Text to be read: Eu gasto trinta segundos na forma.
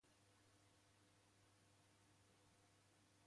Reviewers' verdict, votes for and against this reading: rejected, 0, 2